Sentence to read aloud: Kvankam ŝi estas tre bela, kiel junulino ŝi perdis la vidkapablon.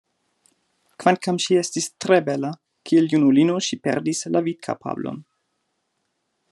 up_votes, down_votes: 1, 2